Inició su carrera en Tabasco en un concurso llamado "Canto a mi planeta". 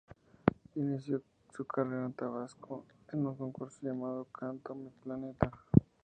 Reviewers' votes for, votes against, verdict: 2, 0, accepted